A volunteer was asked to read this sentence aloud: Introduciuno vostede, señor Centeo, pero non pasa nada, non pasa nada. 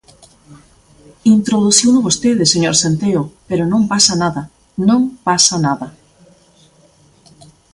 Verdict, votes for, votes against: accepted, 2, 0